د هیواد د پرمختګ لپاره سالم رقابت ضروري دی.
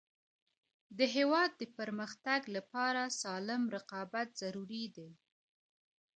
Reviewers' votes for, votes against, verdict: 0, 2, rejected